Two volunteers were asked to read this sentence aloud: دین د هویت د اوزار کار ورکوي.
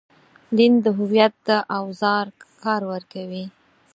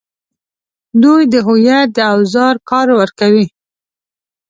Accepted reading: first